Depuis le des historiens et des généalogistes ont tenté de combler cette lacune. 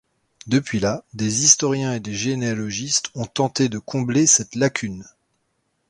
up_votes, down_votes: 0, 2